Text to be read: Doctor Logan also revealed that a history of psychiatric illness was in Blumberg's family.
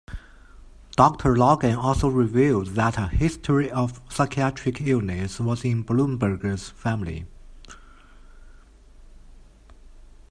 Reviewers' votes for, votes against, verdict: 0, 2, rejected